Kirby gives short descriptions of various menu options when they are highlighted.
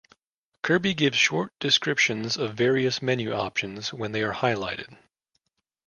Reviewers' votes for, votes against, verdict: 2, 0, accepted